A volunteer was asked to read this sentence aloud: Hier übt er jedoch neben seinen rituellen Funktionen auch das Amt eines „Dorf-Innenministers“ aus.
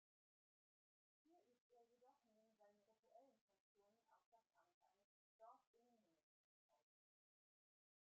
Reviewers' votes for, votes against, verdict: 0, 2, rejected